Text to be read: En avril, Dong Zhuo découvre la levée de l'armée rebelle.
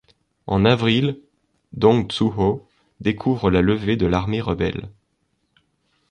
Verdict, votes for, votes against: accepted, 2, 0